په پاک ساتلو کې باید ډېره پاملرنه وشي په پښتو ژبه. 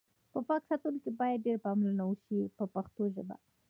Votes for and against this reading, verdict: 0, 2, rejected